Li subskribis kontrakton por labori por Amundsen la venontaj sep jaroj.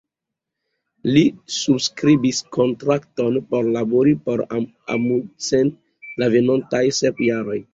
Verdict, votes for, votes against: rejected, 0, 2